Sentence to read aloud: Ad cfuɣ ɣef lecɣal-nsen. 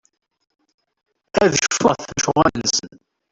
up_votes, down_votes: 0, 2